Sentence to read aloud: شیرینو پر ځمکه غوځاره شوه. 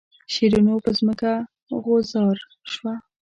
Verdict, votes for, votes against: rejected, 0, 2